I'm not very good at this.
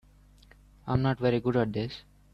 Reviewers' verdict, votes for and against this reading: accepted, 2, 0